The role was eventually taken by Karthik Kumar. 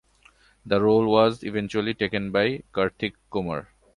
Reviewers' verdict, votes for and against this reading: accepted, 2, 0